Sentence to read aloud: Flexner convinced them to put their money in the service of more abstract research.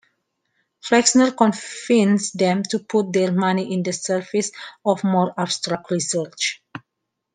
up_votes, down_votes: 2, 0